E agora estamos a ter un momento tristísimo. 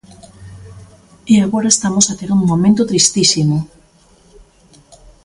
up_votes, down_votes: 2, 0